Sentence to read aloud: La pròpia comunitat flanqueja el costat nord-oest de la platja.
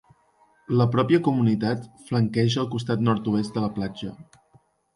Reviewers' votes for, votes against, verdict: 3, 0, accepted